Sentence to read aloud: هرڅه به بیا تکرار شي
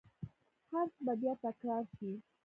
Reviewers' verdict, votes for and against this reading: accepted, 2, 0